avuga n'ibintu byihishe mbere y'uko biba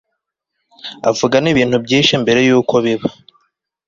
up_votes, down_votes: 3, 0